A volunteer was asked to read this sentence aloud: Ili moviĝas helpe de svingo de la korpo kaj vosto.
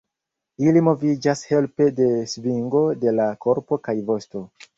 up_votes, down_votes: 0, 2